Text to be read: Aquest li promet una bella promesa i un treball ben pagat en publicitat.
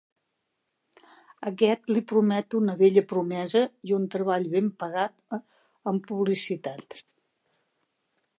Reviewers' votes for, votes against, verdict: 1, 2, rejected